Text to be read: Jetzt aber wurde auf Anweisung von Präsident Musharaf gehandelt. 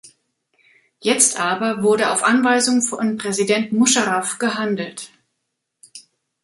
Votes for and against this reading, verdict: 1, 2, rejected